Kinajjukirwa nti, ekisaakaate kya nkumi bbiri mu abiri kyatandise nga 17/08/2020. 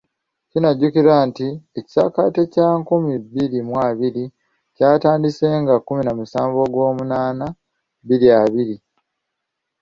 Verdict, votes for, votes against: rejected, 0, 2